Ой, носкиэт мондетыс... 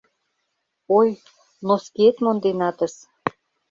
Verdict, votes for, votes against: rejected, 1, 2